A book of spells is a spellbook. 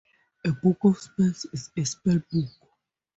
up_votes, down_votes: 4, 0